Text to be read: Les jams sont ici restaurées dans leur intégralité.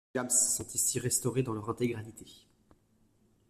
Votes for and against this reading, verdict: 0, 2, rejected